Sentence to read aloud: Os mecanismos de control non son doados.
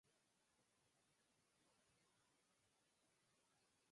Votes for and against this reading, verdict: 0, 4, rejected